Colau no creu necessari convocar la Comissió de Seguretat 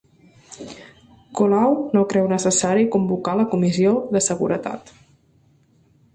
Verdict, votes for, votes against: accepted, 3, 1